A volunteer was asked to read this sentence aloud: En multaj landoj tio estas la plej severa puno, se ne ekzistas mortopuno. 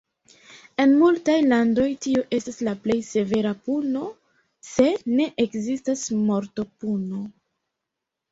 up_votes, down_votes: 2, 0